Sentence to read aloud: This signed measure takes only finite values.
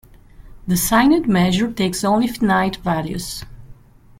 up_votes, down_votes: 0, 2